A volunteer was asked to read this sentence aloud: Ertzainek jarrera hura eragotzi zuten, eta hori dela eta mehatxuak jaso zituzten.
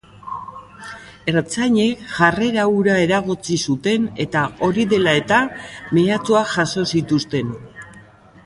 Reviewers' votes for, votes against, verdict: 2, 1, accepted